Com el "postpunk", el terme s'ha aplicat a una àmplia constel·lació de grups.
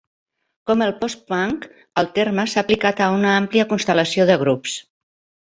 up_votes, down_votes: 4, 0